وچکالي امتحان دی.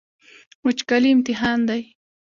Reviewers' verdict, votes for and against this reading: accepted, 2, 0